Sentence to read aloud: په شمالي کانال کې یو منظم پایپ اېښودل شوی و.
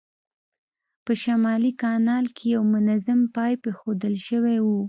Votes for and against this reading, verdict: 2, 0, accepted